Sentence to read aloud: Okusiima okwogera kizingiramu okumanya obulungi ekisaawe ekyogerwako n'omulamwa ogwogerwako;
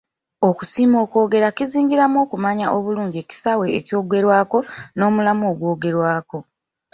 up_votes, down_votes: 1, 2